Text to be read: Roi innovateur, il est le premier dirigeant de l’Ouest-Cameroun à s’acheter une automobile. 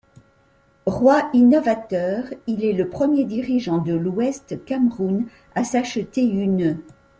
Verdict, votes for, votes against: rejected, 0, 2